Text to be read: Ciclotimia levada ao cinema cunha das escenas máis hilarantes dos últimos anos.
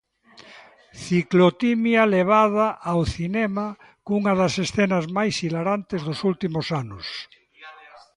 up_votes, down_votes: 2, 0